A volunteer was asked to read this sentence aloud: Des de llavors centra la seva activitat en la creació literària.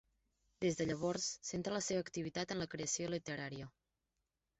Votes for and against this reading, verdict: 2, 0, accepted